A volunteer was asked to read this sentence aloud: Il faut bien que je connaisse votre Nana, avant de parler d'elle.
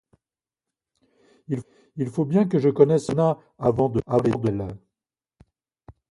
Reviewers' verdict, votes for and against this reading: rejected, 1, 2